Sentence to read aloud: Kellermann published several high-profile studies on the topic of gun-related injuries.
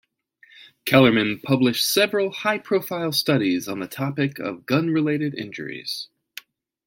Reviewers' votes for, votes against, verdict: 2, 0, accepted